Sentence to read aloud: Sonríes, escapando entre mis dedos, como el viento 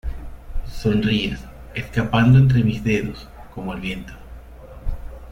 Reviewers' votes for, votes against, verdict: 2, 0, accepted